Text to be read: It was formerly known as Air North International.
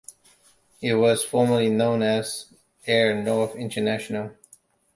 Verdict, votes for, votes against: accepted, 2, 0